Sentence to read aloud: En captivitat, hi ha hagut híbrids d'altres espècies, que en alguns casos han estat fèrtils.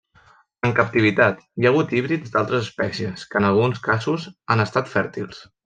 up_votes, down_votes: 0, 2